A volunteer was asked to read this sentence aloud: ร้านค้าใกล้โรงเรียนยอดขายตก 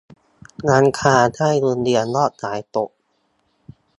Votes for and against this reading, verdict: 2, 0, accepted